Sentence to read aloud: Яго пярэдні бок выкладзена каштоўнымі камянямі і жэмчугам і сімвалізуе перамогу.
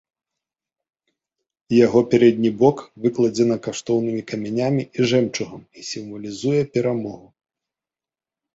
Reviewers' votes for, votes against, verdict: 5, 0, accepted